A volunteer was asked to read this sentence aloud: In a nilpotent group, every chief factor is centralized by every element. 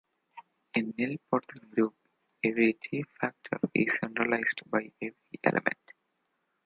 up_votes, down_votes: 1, 2